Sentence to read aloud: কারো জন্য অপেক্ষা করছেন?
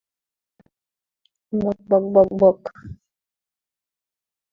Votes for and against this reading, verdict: 0, 2, rejected